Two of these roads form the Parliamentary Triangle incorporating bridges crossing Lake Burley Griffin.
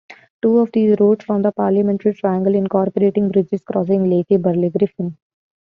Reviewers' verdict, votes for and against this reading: rejected, 0, 2